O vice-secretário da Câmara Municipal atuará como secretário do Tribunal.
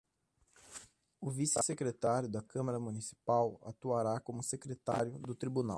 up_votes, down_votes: 1, 2